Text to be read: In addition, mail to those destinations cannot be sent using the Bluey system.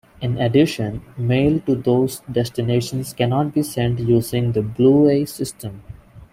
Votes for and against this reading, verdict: 1, 2, rejected